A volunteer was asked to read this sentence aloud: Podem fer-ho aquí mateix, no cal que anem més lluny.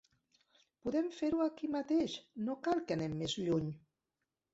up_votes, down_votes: 0, 2